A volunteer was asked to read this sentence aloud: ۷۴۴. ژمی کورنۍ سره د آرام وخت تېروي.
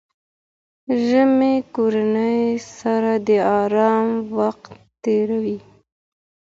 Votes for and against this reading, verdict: 0, 2, rejected